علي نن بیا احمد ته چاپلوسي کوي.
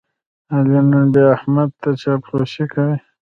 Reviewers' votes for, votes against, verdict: 1, 2, rejected